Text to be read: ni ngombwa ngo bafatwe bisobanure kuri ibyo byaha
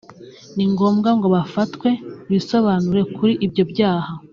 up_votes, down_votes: 2, 0